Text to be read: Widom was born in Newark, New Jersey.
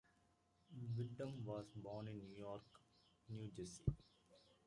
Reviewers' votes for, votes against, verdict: 1, 2, rejected